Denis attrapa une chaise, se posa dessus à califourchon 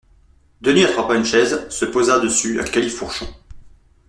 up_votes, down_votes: 2, 0